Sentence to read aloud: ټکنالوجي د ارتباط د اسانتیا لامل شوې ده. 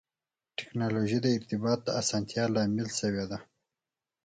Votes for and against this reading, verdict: 4, 0, accepted